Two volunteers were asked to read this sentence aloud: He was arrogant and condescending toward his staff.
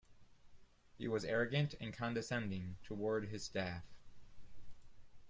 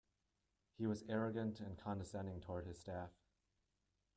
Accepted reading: first